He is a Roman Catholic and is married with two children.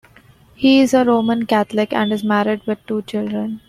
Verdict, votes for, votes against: accepted, 2, 0